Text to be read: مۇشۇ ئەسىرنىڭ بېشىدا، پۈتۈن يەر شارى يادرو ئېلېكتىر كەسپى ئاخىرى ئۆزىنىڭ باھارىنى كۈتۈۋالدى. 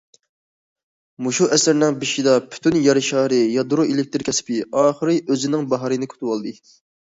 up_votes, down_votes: 2, 0